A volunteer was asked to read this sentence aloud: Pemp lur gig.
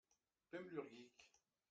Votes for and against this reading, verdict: 1, 2, rejected